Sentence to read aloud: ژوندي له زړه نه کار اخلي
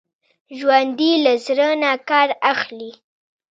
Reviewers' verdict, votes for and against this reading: accepted, 2, 1